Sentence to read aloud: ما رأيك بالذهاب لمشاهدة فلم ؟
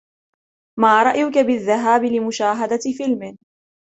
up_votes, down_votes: 1, 2